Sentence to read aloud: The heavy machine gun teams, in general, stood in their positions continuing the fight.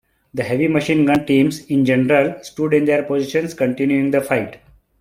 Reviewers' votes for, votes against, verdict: 2, 1, accepted